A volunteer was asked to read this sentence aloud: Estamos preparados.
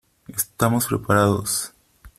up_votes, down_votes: 2, 3